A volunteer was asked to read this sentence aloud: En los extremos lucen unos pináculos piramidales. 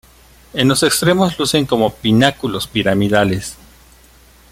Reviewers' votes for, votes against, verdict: 0, 2, rejected